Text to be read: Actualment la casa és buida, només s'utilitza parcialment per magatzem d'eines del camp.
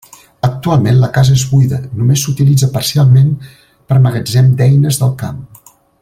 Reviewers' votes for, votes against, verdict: 3, 0, accepted